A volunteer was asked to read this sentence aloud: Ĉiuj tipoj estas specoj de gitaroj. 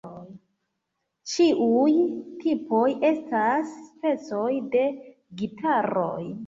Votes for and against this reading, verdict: 2, 0, accepted